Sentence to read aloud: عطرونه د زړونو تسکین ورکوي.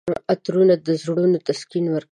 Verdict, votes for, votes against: rejected, 1, 2